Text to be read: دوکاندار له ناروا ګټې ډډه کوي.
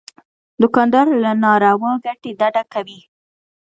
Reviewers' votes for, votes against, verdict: 2, 0, accepted